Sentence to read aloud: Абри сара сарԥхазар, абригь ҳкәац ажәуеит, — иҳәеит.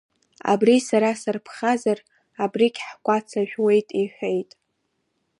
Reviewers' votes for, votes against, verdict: 1, 2, rejected